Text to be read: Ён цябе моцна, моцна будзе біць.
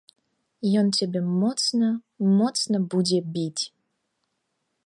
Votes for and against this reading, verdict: 2, 0, accepted